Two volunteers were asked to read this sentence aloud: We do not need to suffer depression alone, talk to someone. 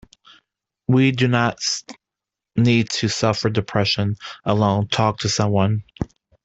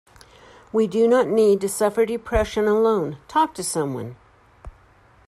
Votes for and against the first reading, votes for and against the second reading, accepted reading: 0, 2, 2, 0, second